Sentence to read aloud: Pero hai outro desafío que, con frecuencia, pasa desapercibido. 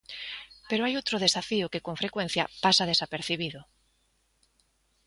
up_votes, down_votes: 2, 0